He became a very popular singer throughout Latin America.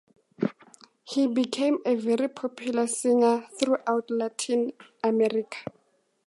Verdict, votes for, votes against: accepted, 2, 0